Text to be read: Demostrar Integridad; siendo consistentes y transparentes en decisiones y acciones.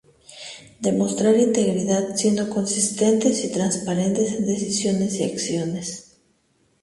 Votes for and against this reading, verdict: 0, 2, rejected